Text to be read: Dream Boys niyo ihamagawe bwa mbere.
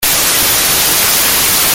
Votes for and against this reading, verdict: 0, 2, rejected